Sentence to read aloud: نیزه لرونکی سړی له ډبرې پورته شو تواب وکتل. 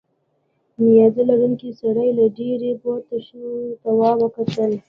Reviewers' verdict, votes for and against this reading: accepted, 2, 0